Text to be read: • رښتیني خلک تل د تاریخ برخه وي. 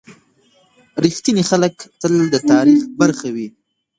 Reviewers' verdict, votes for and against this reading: rejected, 1, 2